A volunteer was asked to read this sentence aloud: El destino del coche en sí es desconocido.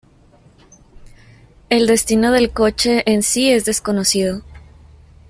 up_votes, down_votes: 2, 0